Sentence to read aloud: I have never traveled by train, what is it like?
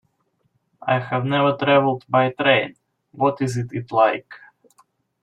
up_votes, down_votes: 0, 2